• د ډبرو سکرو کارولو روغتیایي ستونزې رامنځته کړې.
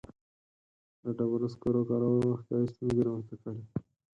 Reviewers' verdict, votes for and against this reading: rejected, 2, 4